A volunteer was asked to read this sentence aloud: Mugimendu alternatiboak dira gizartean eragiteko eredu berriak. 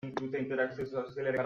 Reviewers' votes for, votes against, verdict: 0, 2, rejected